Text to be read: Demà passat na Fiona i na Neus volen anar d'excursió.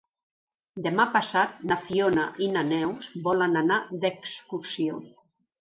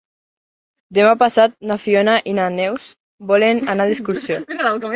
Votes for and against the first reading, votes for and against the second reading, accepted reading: 3, 0, 1, 2, first